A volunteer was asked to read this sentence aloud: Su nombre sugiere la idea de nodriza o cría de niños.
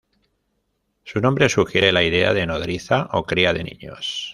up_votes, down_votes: 1, 2